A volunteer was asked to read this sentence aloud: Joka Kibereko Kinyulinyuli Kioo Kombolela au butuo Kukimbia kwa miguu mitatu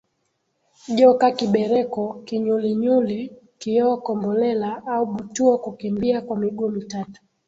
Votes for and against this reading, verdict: 5, 2, accepted